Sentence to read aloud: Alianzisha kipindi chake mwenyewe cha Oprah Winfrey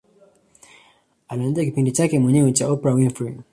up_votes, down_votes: 2, 1